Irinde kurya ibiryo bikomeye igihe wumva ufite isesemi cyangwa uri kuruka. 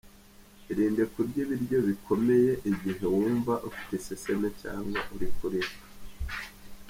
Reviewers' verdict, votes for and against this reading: rejected, 1, 2